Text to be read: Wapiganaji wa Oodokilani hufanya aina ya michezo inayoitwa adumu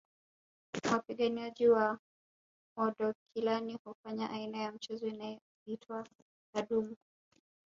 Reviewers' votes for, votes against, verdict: 0, 2, rejected